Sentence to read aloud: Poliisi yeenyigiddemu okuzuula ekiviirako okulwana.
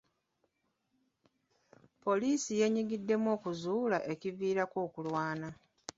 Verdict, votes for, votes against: rejected, 1, 2